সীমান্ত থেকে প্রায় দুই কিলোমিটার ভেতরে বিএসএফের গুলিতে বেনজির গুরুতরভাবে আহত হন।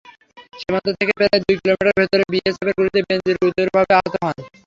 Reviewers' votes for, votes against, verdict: 3, 0, accepted